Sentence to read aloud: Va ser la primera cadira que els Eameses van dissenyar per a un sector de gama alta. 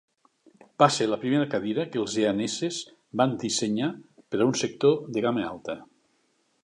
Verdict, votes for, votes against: rejected, 1, 2